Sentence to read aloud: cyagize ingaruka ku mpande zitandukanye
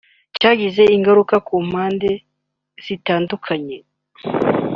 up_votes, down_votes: 2, 1